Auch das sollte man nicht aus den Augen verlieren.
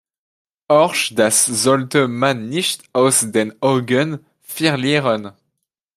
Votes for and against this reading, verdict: 0, 2, rejected